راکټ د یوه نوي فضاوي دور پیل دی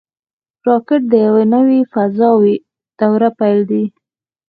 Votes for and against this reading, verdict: 0, 4, rejected